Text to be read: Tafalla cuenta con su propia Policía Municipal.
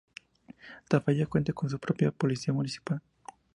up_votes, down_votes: 2, 0